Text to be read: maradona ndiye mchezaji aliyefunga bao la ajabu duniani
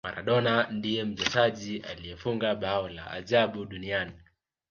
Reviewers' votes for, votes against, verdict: 2, 0, accepted